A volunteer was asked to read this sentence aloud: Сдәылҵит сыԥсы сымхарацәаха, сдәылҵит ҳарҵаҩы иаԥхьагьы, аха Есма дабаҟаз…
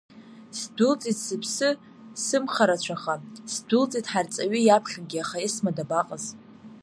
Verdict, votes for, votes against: accepted, 2, 0